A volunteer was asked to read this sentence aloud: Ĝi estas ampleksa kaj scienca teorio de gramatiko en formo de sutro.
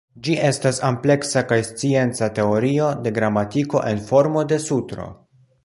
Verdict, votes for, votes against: accepted, 2, 0